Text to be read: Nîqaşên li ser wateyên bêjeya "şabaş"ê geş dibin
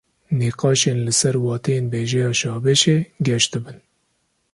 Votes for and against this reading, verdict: 1, 2, rejected